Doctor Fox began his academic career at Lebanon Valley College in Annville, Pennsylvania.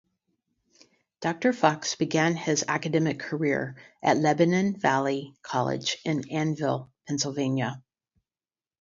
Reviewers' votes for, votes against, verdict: 8, 0, accepted